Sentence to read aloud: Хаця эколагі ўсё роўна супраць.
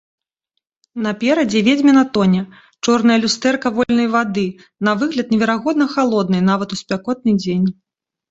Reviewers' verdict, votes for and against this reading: rejected, 0, 2